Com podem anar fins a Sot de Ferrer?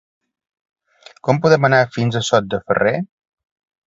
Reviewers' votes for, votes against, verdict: 2, 0, accepted